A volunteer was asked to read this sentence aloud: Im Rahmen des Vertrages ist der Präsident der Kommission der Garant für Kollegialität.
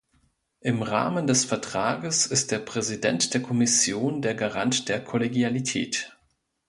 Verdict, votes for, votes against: rejected, 1, 2